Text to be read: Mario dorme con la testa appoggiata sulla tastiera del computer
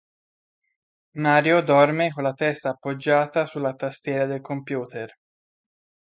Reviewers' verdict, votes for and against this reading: accepted, 2, 0